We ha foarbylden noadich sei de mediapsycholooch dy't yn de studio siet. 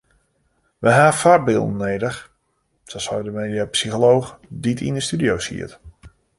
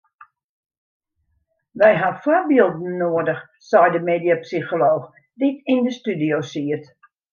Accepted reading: second